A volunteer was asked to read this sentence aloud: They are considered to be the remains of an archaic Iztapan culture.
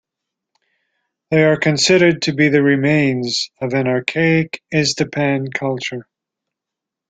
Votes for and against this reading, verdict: 2, 0, accepted